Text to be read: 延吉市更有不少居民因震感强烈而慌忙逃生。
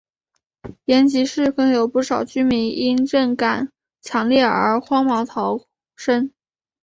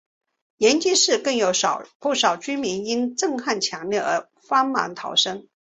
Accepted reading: first